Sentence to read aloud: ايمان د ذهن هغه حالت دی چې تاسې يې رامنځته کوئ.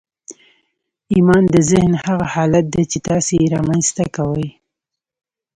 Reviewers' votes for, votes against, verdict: 1, 2, rejected